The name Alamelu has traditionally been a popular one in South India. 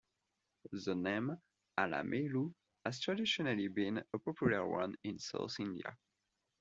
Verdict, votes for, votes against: accepted, 2, 1